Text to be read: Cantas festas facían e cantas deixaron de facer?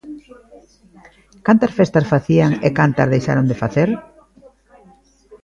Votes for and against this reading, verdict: 1, 2, rejected